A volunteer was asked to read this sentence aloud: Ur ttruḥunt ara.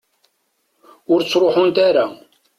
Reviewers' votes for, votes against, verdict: 2, 0, accepted